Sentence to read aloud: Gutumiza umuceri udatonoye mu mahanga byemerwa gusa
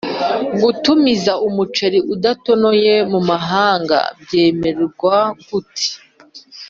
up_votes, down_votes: 1, 2